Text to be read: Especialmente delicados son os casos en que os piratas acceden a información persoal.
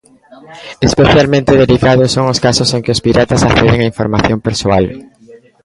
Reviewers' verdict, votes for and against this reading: rejected, 1, 2